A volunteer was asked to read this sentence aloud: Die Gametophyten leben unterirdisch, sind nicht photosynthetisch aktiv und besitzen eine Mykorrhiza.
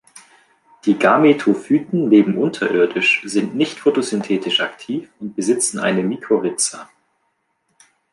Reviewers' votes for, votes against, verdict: 2, 0, accepted